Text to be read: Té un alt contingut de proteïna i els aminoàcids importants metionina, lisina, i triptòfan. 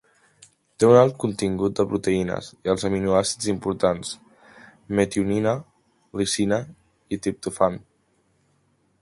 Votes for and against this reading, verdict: 0, 2, rejected